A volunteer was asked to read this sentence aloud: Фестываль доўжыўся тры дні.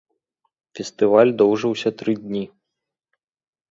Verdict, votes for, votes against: accepted, 2, 0